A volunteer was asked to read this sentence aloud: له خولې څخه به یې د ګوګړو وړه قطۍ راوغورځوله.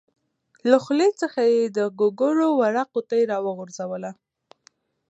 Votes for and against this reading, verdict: 2, 0, accepted